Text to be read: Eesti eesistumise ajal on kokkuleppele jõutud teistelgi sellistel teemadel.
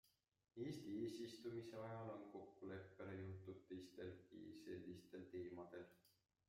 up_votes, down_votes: 0, 2